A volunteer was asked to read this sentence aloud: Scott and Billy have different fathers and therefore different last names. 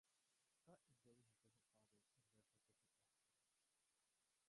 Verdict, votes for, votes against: rejected, 0, 2